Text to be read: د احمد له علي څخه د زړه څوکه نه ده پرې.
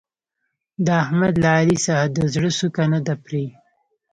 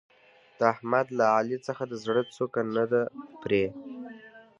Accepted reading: second